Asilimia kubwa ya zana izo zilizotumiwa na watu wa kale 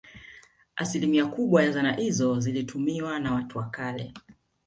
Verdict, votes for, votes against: rejected, 1, 2